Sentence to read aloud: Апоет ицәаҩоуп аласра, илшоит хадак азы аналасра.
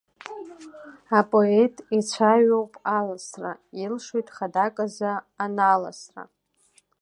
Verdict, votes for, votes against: accepted, 2, 0